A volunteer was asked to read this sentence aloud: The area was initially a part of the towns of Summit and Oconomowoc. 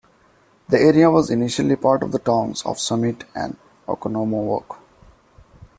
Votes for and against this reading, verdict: 2, 0, accepted